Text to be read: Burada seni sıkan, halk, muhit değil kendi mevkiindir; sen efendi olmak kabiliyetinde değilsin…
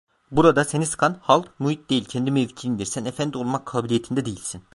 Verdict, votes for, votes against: rejected, 1, 2